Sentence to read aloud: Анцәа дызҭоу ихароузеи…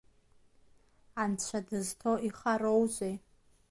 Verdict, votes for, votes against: rejected, 1, 2